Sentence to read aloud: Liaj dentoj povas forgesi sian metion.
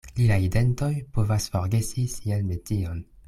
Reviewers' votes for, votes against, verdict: 2, 0, accepted